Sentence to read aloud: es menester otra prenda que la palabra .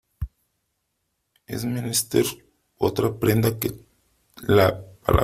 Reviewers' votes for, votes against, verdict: 1, 3, rejected